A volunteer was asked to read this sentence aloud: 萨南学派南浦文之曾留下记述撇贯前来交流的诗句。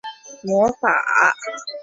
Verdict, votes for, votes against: rejected, 1, 3